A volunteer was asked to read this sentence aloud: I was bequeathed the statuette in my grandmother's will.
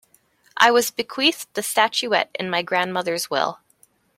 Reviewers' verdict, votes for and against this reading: accepted, 2, 0